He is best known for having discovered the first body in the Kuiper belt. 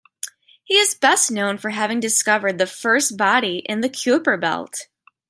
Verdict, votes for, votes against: accepted, 2, 0